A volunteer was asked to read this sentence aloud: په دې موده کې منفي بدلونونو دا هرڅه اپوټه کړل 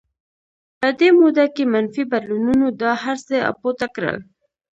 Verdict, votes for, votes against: rejected, 1, 2